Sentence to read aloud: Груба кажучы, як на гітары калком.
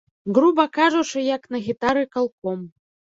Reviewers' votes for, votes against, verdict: 1, 2, rejected